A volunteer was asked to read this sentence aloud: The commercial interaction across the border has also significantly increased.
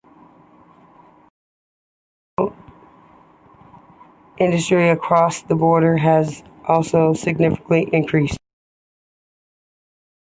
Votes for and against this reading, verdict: 0, 2, rejected